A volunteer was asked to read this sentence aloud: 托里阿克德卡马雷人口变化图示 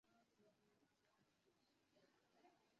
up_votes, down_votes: 2, 1